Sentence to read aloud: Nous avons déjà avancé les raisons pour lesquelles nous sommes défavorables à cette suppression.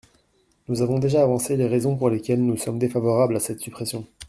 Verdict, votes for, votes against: accepted, 2, 0